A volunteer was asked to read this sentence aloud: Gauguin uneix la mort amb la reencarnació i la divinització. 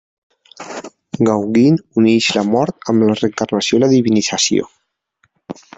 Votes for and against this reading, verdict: 1, 2, rejected